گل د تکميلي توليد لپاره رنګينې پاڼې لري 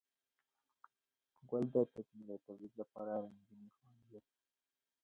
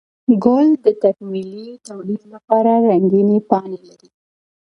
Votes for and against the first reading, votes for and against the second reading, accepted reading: 1, 2, 2, 0, second